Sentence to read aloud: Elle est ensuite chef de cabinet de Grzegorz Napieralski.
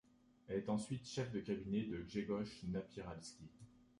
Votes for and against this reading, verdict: 1, 2, rejected